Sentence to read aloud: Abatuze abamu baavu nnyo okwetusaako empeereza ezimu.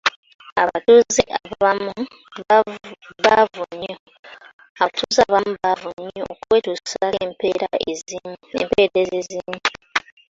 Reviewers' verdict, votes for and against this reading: rejected, 0, 2